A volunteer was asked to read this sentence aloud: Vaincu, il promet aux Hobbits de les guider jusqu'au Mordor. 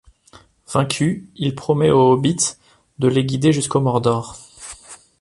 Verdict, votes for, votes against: accepted, 2, 0